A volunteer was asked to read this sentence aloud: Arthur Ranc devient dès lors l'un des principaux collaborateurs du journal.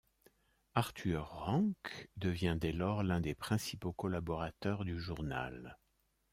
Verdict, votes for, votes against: accepted, 2, 1